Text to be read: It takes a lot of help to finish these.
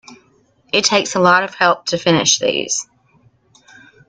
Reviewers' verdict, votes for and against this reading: accepted, 2, 0